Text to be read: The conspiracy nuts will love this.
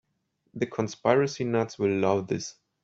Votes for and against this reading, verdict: 1, 2, rejected